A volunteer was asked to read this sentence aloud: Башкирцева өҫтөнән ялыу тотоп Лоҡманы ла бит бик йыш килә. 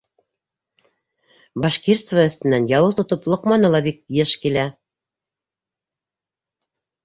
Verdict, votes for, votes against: accepted, 2, 1